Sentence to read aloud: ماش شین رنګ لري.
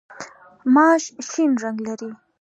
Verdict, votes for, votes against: accepted, 2, 0